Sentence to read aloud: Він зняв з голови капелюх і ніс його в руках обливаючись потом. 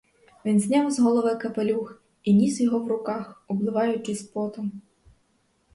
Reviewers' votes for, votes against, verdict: 4, 0, accepted